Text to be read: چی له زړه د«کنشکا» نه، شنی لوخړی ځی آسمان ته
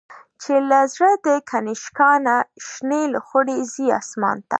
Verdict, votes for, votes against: accepted, 2, 1